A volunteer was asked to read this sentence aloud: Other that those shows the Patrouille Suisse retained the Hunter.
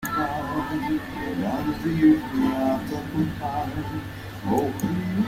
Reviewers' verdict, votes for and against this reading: rejected, 0, 2